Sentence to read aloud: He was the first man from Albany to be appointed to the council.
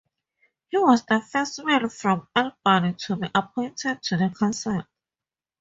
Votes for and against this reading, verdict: 4, 0, accepted